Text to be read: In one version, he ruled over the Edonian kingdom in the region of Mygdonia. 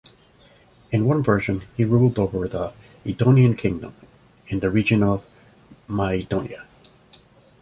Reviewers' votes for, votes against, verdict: 2, 0, accepted